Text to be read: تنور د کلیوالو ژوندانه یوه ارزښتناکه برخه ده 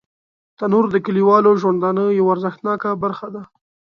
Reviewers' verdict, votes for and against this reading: accepted, 2, 0